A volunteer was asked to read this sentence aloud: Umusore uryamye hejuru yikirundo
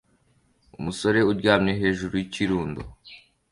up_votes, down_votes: 2, 0